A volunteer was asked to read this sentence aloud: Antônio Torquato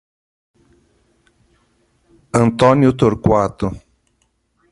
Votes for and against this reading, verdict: 2, 0, accepted